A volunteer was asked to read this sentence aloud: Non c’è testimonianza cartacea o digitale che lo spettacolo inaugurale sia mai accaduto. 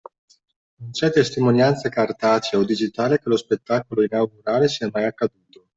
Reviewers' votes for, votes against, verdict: 1, 2, rejected